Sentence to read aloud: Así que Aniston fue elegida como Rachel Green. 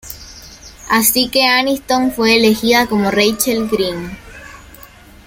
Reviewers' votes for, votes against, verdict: 2, 0, accepted